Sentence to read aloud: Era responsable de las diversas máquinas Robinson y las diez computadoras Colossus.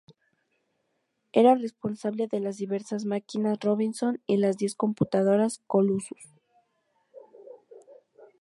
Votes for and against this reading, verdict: 2, 2, rejected